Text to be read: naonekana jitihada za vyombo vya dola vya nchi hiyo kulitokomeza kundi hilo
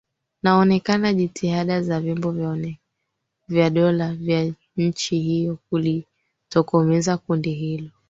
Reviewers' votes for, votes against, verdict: 3, 1, accepted